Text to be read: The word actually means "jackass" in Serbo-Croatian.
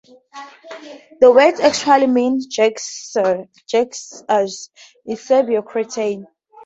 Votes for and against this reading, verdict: 0, 2, rejected